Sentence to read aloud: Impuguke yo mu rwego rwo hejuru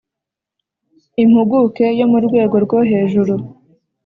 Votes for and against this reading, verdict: 2, 0, accepted